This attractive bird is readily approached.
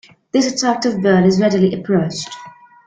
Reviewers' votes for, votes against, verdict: 2, 0, accepted